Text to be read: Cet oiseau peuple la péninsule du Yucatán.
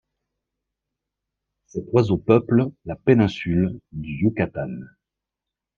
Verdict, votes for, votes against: accepted, 2, 0